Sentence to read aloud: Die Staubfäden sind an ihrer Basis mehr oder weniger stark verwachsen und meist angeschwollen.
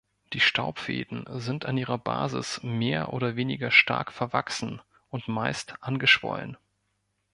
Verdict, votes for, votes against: accepted, 3, 0